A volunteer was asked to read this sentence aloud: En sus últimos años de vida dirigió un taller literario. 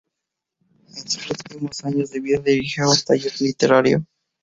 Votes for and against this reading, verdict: 0, 2, rejected